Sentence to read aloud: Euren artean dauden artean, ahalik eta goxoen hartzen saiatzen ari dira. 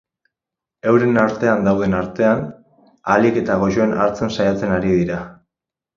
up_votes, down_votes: 4, 0